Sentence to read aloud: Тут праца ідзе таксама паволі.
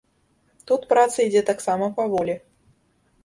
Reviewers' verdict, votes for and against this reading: accepted, 2, 0